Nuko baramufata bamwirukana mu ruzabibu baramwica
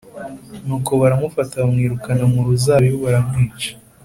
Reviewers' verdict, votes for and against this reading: accepted, 2, 0